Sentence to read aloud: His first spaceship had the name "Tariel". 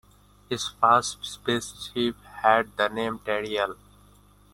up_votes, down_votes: 2, 1